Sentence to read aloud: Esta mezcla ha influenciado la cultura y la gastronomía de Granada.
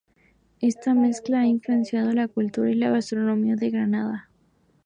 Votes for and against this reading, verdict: 2, 0, accepted